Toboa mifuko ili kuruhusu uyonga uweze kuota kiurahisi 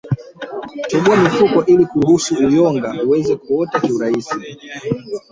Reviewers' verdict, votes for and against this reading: rejected, 0, 3